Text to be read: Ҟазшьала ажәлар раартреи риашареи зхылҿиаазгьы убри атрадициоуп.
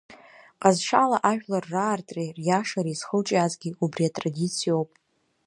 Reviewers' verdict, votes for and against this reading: accepted, 2, 0